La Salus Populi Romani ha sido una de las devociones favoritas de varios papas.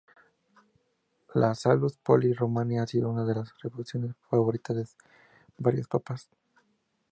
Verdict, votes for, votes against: rejected, 0, 2